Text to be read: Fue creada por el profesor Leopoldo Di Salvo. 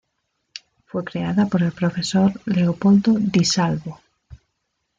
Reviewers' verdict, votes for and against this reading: accepted, 2, 0